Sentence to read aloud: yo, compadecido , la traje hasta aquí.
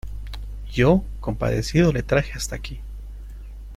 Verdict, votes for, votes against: rejected, 1, 2